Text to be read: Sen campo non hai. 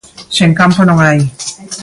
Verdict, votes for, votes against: accepted, 2, 0